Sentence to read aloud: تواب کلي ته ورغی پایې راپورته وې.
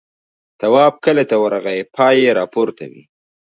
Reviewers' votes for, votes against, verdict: 0, 2, rejected